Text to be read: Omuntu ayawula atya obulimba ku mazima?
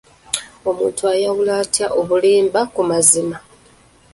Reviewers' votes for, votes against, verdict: 2, 0, accepted